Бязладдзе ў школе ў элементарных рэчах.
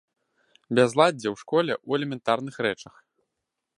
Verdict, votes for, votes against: accepted, 2, 0